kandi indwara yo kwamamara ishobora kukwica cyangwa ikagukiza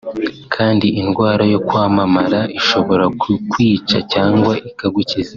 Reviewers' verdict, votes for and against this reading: accepted, 2, 0